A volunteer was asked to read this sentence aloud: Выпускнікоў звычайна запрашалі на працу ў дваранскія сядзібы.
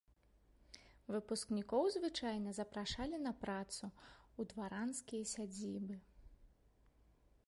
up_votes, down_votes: 1, 2